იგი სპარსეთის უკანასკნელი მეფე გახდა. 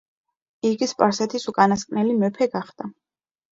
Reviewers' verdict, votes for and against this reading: accepted, 2, 0